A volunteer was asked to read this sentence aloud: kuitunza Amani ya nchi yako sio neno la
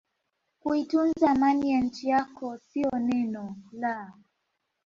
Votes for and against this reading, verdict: 2, 3, rejected